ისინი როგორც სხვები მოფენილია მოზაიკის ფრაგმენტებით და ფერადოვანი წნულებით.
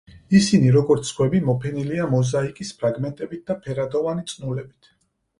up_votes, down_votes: 4, 0